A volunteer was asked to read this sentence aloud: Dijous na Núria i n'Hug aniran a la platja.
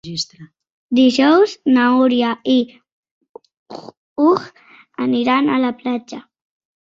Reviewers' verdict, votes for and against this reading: rejected, 1, 2